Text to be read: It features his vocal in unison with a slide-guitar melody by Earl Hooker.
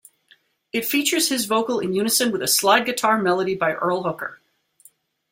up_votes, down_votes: 2, 0